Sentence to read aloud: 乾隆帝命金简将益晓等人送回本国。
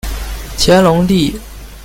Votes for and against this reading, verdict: 0, 2, rejected